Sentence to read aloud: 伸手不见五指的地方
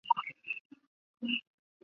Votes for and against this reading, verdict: 0, 2, rejected